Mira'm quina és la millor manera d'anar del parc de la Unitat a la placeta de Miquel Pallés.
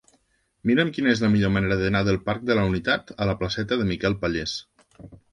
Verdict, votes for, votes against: accepted, 3, 0